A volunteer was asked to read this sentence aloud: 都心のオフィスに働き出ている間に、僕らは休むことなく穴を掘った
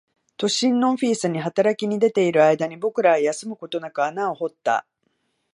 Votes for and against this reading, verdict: 1, 2, rejected